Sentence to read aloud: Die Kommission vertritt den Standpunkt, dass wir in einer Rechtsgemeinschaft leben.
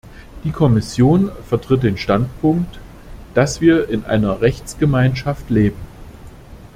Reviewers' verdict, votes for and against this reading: accepted, 2, 0